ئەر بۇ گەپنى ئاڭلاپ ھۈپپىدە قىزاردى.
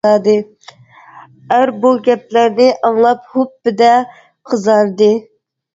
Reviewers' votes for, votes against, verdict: 0, 2, rejected